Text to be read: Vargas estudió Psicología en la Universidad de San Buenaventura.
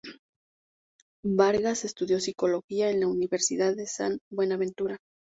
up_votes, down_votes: 2, 0